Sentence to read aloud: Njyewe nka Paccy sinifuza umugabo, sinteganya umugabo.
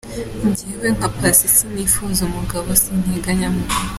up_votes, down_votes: 0, 2